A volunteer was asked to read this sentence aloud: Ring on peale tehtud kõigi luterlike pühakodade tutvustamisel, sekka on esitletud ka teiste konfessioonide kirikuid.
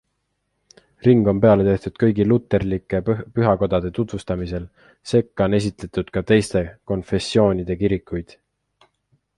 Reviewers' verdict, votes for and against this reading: accepted, 2, 0